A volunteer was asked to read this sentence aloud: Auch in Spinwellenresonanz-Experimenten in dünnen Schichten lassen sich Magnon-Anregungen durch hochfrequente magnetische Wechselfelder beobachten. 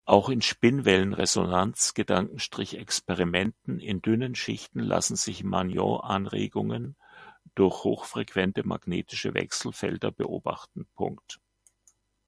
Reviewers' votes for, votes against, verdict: 1, 2, rejected